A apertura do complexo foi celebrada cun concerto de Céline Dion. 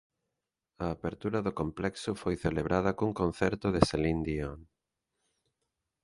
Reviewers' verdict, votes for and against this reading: accepted, 2, 0